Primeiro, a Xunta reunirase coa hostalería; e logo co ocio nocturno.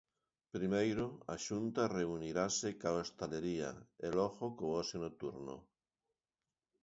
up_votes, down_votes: 1, 2